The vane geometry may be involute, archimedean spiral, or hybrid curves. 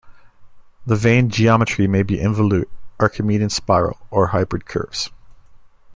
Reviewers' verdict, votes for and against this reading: accepted, 2, 0